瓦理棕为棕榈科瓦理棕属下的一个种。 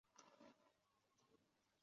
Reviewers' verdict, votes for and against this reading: accepted, 3, 1